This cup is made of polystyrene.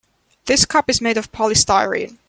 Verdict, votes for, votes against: accepted, 2, 0